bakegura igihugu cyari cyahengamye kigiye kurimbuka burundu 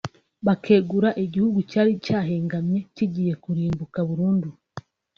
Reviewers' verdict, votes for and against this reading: rejected, 1, 2